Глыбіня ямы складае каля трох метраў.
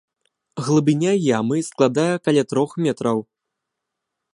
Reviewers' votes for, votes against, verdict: 3, 0, accepted